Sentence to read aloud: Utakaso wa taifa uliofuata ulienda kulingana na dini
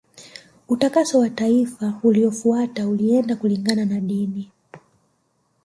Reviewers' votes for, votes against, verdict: 0, 2, rejected